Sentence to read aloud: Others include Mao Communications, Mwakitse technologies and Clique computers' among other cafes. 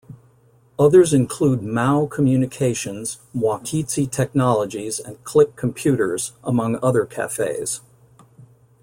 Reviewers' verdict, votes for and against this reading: accepted, 2, 0